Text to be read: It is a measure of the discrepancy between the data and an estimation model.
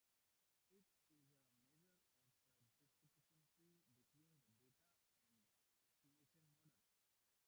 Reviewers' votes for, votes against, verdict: 0, 2, rejected